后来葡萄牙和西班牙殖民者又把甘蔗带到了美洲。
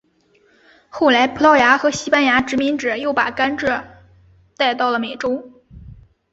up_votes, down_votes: 3, 1